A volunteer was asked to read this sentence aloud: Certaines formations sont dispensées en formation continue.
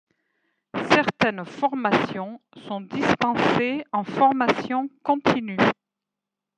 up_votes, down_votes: 2, 1